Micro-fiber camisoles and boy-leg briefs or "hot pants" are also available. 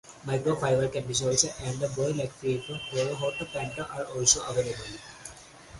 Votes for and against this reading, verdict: 0, 4, rejected